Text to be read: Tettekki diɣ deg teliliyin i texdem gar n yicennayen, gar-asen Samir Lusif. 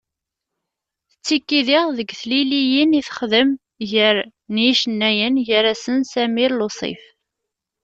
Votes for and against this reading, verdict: 2, 1, accepted